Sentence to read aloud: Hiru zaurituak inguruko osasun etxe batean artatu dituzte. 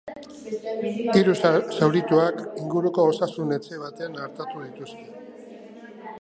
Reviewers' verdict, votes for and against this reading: rejected, 0, 2